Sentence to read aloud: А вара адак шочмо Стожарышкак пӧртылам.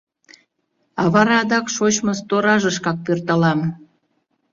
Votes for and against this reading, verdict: 0, 2, rejected